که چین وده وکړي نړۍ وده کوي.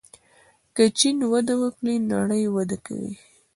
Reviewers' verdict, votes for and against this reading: accepted, 2, 0